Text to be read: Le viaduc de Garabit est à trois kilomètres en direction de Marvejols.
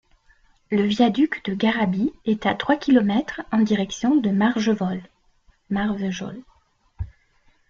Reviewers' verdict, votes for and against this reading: rejected, 0, 2